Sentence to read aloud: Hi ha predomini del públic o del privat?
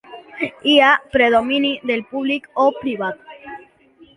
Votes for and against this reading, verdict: 1, 2, rejected